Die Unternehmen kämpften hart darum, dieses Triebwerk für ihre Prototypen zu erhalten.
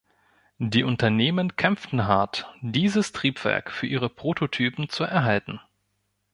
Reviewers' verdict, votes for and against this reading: rejected, 1, 2